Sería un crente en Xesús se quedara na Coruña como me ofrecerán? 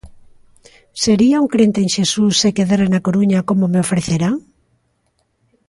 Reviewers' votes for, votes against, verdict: 2, 0, accepted